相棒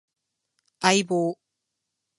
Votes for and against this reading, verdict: 4, 0, accepted